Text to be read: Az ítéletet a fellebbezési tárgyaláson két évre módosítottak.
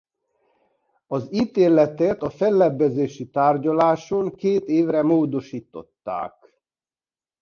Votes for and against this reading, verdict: 1, 2, rejected